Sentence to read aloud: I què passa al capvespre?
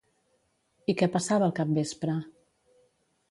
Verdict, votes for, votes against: rejected, 0, 3